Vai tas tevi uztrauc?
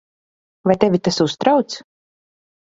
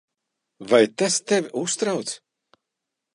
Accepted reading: second